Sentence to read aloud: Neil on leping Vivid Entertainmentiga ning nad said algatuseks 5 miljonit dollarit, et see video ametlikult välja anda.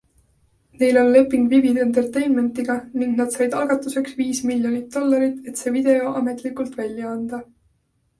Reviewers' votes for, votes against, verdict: 0, 2, rejected